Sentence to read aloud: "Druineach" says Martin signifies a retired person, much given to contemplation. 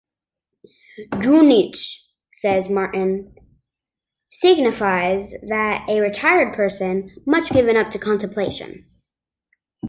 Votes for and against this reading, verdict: 0, 2, rejected